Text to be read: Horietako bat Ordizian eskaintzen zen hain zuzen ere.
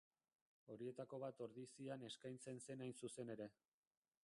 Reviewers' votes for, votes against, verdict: 0, 2, rejected